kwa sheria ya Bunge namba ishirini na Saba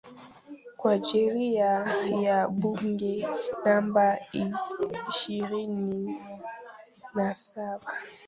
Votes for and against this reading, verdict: 0, 3, rejected